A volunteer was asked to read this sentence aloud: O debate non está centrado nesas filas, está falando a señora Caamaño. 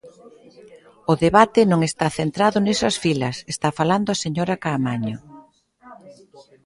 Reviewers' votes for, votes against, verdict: 2, 0, accepted